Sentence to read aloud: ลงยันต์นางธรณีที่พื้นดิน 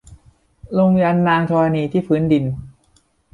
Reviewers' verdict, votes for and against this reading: accepted, 2, 0